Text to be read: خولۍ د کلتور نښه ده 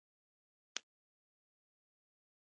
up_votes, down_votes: 1, 2